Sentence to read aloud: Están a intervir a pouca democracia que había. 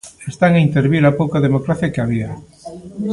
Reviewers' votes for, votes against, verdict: 2, 0, accepted